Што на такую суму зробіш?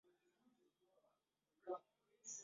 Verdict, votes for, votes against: rejected, 0, 2